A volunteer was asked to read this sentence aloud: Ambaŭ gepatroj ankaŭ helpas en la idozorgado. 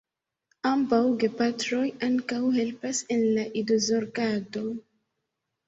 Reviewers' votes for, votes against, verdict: 1, 2, rejected